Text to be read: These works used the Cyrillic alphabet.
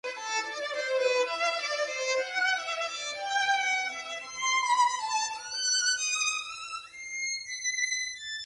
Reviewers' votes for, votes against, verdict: 0, 2, rejected